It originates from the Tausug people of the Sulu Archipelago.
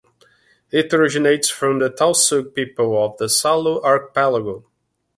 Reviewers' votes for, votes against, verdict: 0, 2, rejected